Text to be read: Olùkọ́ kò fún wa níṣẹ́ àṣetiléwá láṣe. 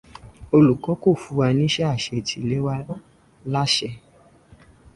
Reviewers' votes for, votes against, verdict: 0, 2, rejected